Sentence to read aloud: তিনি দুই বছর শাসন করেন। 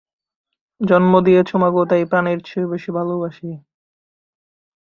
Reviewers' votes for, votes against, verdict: 0, 2, rejected